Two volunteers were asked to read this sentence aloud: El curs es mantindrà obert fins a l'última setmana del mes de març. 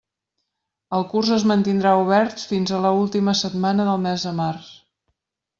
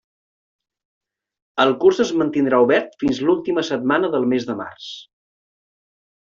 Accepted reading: second